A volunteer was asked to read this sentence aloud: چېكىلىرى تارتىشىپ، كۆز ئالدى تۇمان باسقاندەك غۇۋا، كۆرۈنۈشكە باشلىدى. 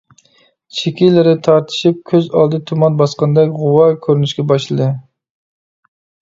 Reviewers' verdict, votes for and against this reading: accepted, 2, 0